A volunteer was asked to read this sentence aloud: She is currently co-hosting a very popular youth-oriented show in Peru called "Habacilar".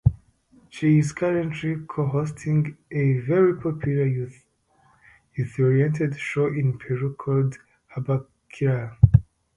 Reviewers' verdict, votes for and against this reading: rejected, 0, 2